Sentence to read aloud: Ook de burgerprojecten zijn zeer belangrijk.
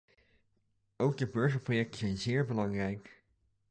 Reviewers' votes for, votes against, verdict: 1, 2, rejected